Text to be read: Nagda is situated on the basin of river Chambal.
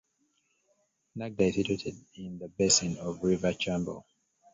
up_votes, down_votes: 1, 2